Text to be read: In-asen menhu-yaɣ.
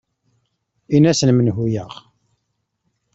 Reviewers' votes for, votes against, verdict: 2, 0, accepted